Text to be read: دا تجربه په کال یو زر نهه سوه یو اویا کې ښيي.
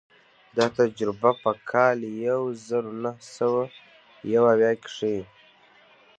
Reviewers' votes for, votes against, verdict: 2, 0, accepted